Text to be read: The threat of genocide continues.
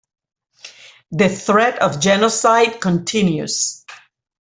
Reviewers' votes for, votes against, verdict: 2, 0, accepted